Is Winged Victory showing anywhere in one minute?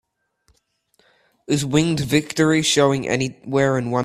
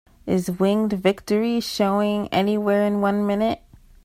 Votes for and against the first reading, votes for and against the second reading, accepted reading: 0, 3, 2, 0, second